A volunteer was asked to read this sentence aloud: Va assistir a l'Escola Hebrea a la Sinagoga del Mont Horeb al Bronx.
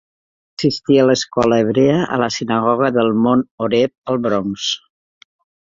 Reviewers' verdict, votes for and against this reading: rejected, 0, 2